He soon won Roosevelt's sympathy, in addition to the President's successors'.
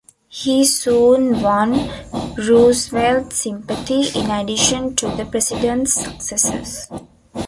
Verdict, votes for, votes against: rejected, 1, 2